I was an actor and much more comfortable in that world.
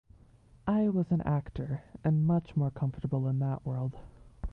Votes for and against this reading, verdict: 2, 1, accepted